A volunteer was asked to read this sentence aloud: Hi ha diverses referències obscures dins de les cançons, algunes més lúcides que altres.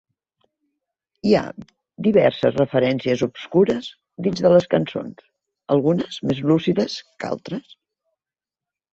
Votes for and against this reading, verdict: 3, 0, accepted